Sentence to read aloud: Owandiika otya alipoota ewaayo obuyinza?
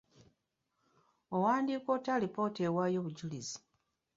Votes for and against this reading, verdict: 2, 1, accepted